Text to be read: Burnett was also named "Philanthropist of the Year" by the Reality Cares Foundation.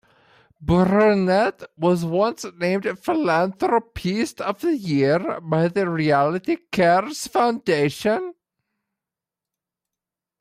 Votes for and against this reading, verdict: 2, 1, accepted